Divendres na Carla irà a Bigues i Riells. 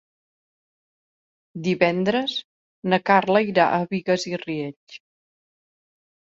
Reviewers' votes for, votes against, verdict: 2, 0, accepted